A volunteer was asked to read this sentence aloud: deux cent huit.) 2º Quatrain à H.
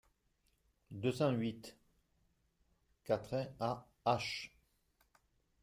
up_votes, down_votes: 0, 2